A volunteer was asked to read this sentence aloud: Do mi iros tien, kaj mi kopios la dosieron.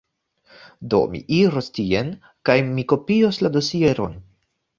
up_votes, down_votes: 0, 2